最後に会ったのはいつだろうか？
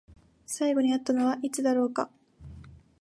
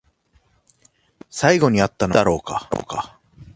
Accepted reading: first